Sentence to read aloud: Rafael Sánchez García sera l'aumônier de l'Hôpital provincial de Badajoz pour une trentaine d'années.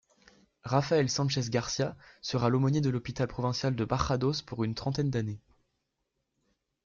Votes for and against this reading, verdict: 0, 2, rejected